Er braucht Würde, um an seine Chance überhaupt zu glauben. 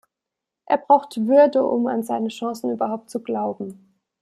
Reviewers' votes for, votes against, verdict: 0, 2, rejected